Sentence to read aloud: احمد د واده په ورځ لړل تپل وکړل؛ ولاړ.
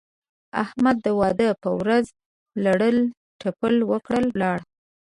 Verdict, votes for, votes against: accepted, 2, 0